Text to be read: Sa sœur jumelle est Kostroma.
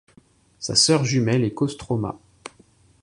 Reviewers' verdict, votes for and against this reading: accepted, 2, 0